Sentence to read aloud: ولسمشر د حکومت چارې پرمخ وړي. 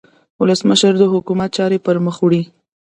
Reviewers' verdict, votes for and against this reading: accepted, 3, 0